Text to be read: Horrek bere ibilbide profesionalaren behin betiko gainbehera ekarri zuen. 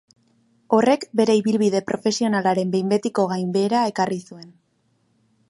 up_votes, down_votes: 1, 2